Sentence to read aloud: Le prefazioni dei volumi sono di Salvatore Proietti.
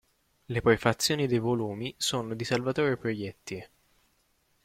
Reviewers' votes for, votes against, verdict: 2, 1, accepted